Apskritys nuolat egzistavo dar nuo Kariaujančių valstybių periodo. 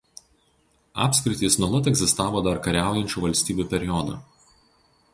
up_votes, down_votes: 0, 2